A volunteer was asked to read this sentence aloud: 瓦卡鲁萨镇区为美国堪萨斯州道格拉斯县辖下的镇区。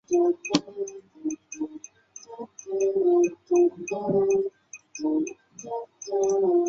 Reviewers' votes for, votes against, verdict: 0, 2, rejected